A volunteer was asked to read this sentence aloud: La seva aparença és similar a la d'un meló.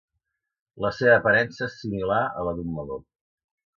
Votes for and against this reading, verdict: 2, 0, accepted